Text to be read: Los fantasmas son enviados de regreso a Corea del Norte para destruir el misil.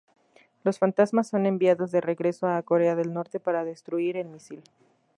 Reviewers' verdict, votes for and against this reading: accepted, 2, 0